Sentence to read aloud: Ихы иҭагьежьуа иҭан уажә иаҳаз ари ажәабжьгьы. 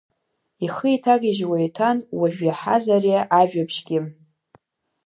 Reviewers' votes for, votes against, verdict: 2, 0, accepted